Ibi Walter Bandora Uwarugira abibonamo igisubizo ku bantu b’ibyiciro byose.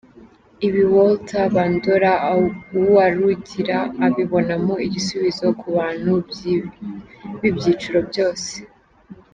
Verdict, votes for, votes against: rejected, 0, 2